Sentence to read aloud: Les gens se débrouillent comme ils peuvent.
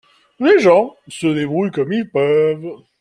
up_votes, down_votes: 2, 0